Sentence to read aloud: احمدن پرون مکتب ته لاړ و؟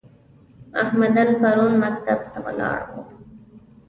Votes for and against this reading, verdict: 2, 1, accepted